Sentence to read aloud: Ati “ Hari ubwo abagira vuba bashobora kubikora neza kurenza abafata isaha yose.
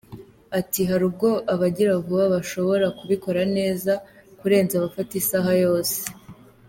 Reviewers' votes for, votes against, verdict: 2, 0, accepted